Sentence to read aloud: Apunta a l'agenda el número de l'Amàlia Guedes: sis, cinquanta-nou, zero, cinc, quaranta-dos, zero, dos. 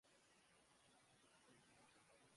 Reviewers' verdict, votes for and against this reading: rejected, 0, 2